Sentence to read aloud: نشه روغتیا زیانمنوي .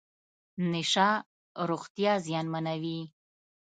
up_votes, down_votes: 2, 0